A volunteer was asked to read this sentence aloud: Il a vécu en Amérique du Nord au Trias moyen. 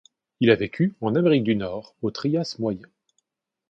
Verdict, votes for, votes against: accepted, 2, 0